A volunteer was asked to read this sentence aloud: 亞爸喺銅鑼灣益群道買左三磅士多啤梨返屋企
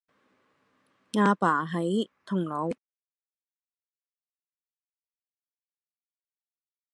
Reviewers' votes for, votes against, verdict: 0, 2, rejected